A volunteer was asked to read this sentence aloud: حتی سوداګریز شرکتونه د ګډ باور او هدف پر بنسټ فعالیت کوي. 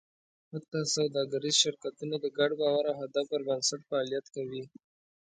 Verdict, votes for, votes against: accepted, 2, 0